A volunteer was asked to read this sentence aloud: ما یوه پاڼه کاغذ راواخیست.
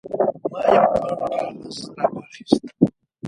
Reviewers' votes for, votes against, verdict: 0, 2, rejected